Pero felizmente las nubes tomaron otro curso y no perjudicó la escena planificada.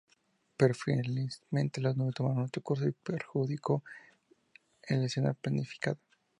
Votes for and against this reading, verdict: 0, 2, rejected